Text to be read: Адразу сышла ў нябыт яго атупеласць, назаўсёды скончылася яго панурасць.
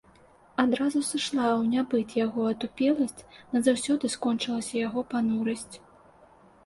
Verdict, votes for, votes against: accepted, 2, 0